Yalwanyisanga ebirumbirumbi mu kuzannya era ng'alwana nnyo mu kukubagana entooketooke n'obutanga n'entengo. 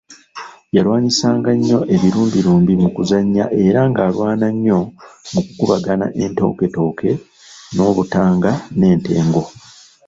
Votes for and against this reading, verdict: 1, 2, rejected